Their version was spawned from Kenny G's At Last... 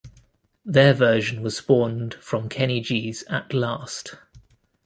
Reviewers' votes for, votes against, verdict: 3, 0, accepted